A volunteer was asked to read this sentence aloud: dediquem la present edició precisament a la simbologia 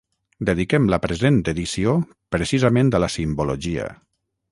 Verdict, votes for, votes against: accepted, 6, 0